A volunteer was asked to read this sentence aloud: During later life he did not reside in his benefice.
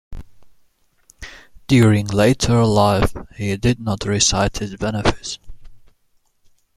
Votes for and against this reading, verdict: 2, 0, accepted